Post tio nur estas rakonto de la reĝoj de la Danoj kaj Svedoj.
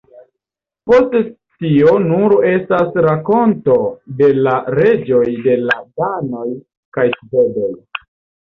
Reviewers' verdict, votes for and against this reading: rejected, 1, 2